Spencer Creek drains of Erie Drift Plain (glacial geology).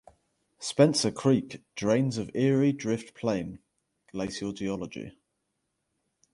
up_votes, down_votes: 0, 2